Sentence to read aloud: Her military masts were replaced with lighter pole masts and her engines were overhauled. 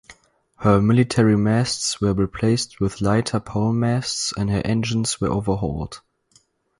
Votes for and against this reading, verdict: 4, 0, accepted